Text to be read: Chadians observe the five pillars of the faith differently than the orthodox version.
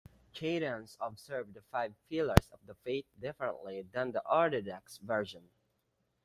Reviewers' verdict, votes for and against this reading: rejected, 1, 2